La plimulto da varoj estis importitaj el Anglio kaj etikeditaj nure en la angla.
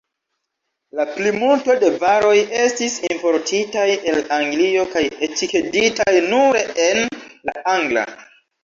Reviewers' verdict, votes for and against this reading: rejected, 0, 2